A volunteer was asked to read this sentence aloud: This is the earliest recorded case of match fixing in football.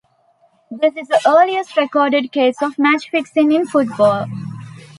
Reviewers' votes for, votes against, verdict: 2, 0, accepted